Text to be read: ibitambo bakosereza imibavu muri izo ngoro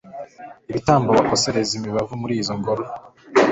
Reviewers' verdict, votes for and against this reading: accepted, 2, 0